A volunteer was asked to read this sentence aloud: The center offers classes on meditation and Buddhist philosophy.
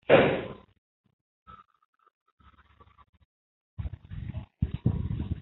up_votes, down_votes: 0, 2